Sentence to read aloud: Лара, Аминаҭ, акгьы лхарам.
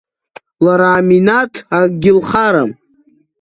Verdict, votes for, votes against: accepted, 2, 0